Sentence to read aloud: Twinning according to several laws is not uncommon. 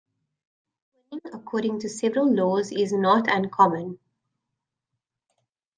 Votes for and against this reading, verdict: 1, 2, rejected